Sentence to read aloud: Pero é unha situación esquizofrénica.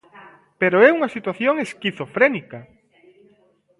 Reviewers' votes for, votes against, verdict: 2, 1, accepted